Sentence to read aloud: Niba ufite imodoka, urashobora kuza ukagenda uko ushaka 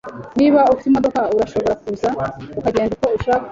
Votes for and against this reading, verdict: 2, 0, accepted